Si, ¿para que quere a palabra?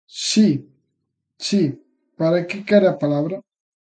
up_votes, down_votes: 0, 3